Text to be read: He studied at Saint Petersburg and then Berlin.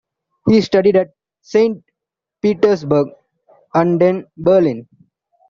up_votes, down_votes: 2, 1